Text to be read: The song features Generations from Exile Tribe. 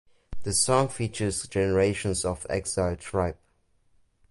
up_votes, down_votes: 1, 2